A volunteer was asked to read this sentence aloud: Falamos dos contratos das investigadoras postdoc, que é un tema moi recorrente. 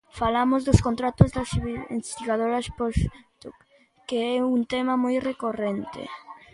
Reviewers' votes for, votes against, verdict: 0, 2, rejected